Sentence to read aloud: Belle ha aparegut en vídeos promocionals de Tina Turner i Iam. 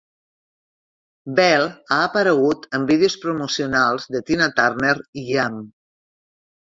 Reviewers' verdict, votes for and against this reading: accepted, 2, 0